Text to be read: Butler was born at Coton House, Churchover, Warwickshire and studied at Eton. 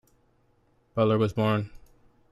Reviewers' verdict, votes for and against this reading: rejected, 0, 2